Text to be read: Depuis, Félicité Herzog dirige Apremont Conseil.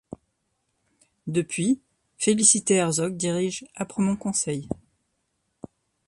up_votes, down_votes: 2, 0